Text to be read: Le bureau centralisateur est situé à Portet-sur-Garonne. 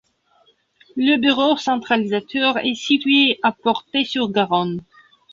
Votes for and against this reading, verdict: 1, 2, rejected